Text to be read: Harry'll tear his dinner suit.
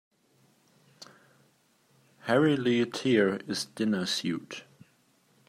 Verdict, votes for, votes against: rejected, 1, 2